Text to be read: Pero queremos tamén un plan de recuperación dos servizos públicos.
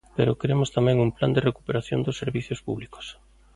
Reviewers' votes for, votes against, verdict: 0, 2, rejected